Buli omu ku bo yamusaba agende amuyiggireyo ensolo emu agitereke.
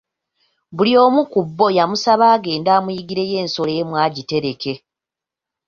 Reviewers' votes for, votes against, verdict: 2, 1, accepted